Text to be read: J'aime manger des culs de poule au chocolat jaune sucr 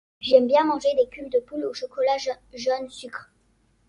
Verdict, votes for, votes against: accepted, 2, 1